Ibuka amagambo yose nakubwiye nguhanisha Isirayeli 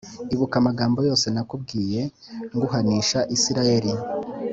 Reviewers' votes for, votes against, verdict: 4, 0, accepted